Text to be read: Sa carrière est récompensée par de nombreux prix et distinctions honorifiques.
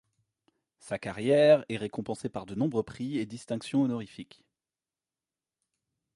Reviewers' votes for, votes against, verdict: 2, 0, accepted